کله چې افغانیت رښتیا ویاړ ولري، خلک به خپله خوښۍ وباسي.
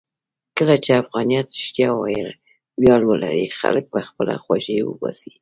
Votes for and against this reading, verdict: 2, 1, accepted